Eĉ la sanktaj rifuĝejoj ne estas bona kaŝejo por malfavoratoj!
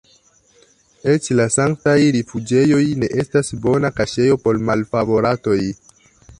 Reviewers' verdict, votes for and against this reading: accepted, 2, 1